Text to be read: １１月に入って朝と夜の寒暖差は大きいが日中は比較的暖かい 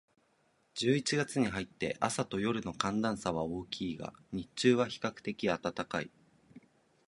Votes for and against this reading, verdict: 0, 2, rejected